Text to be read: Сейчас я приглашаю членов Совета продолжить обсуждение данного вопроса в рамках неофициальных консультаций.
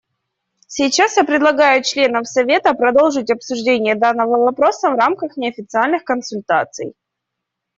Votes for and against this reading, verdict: 2, 1, accepted